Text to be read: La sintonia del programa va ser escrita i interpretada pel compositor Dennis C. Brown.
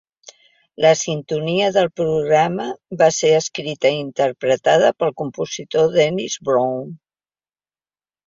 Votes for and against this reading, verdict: 1, 2, rejected